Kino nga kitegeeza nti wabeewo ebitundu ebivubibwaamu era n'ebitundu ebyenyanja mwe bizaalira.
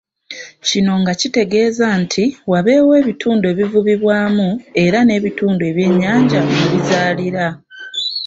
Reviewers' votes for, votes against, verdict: 2, 1, accepted